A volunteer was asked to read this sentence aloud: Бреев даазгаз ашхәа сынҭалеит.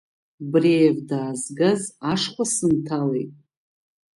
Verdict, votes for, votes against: accepted, 2, 0